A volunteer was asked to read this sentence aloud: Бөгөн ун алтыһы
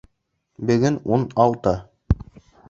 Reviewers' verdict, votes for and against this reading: rejected, 0, 2